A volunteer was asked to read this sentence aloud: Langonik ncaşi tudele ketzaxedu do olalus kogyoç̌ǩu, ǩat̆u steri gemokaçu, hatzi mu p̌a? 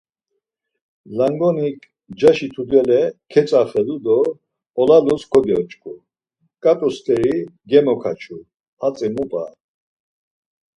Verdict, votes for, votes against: accepted, 4, 0